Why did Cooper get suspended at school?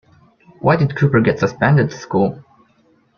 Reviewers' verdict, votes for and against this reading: rejected, 1, 2